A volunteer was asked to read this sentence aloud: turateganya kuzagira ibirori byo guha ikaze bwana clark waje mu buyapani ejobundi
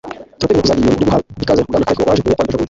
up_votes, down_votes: 1, 2